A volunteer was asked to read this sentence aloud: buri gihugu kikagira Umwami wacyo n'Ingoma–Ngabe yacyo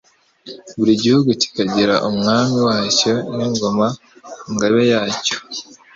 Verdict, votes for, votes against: accepted, 2, 0